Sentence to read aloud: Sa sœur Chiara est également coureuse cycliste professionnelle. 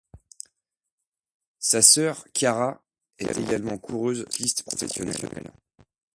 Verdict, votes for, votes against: accepted, 2, 1